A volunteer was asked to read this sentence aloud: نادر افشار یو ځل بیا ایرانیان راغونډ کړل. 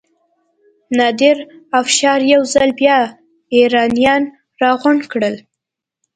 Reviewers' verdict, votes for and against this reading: accepted, 2, 0